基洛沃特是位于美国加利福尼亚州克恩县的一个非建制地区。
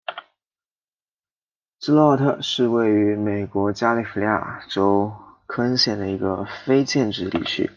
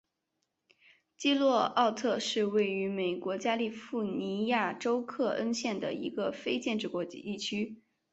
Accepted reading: second